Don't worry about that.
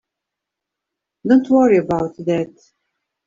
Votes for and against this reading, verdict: 1, 2, rejected